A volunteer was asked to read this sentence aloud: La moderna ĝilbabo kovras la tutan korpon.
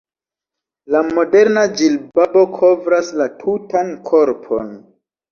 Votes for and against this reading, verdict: 2, 0, accepted